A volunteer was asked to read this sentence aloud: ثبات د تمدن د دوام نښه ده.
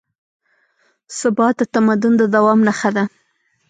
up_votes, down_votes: 1, 2